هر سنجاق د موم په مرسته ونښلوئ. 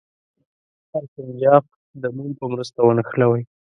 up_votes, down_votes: 0, 2